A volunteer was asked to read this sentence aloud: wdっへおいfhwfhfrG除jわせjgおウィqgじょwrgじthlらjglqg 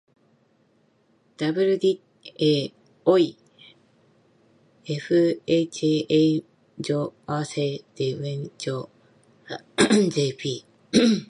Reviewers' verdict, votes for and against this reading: accepted, 2, 1